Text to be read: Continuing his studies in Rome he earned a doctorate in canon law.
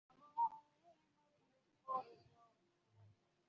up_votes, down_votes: 0, 2